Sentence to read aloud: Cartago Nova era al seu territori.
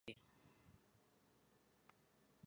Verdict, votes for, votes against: rejected, 0, 2